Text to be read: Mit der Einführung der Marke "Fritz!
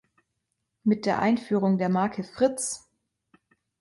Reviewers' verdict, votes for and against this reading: accepted, 2, 0